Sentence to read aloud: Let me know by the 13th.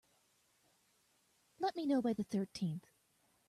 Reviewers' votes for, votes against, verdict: 0, 2, rejected